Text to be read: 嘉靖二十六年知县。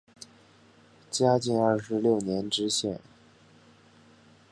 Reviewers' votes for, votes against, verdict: 4, 0, accepted